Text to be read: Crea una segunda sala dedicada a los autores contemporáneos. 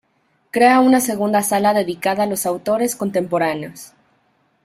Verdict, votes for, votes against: accepted, 2, 0